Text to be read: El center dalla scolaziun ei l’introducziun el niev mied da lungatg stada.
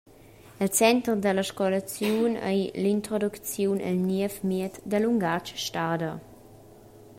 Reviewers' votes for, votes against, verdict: 0, 2, rejected